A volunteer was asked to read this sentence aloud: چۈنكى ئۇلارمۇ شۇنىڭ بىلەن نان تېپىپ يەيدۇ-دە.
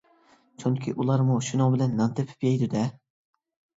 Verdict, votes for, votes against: accepted, 2, 0